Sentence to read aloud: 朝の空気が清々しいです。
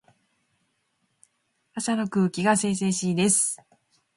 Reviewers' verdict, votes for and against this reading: rejected, 0, 2